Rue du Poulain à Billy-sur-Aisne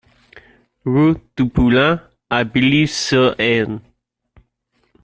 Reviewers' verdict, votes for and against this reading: rejected, 1, 2